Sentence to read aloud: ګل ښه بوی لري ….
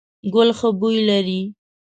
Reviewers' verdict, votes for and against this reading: accepted, 2, 0